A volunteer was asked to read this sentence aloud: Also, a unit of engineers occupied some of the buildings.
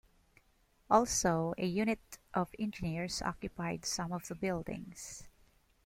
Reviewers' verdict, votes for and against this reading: accepted, 2, 0